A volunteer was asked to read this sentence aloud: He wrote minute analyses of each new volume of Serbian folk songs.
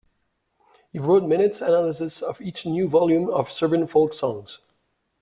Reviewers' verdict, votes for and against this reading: accepted, 2, 1